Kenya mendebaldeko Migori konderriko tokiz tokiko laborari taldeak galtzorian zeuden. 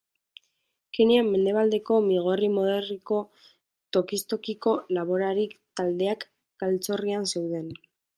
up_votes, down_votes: 0, 2